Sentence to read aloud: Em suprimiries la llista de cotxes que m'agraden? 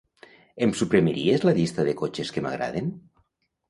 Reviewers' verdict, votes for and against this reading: accepted, 2, 0